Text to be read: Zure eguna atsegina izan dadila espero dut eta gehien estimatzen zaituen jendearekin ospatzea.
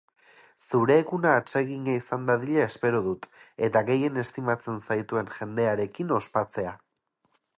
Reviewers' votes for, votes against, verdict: 2, 2, rejected